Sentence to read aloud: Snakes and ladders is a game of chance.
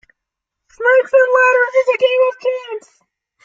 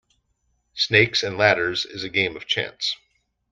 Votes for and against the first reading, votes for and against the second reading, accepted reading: 1, 2, 2, 0, second